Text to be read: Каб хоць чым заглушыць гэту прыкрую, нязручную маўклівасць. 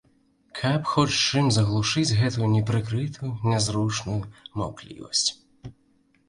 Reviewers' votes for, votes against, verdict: 0, 2, rejected